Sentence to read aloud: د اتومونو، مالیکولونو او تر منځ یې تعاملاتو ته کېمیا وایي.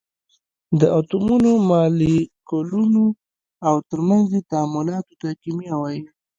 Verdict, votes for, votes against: accepted, 2, 1